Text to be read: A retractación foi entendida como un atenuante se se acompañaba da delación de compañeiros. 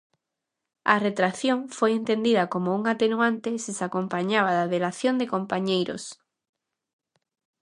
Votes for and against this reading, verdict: 0, 2, rejected